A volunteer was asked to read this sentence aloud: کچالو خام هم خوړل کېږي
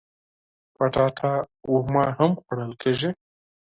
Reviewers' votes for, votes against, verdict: 0, 4, rejected